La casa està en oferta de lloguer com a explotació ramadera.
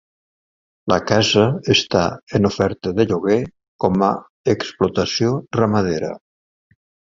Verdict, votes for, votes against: accepted, 2, 0